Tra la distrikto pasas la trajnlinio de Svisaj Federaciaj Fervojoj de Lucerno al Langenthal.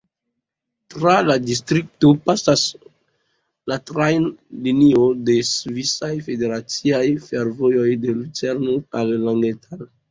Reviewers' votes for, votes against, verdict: 1, 2, rejected